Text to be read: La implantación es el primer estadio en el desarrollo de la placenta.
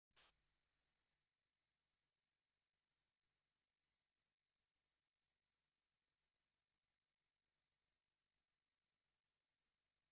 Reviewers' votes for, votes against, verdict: 0, 2, rejected